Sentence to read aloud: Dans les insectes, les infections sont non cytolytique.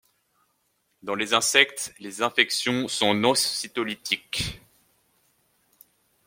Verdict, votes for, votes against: rejected, 0, 2